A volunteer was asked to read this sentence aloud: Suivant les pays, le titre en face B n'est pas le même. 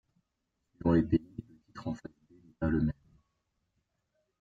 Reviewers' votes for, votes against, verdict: 0, 2, rejected